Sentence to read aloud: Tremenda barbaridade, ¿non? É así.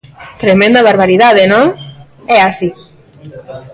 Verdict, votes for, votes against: rejected, 0, 2